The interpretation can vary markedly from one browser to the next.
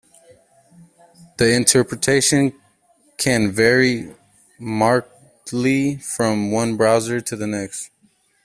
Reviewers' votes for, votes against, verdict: 0, 2, rejected